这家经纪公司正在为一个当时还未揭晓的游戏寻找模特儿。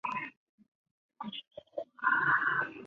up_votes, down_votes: 0, 6